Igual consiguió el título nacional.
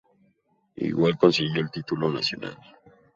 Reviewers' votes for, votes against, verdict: 2, 0, accepted